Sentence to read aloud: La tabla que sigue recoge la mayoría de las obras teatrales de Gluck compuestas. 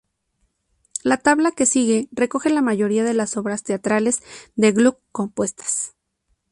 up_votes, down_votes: 2, 2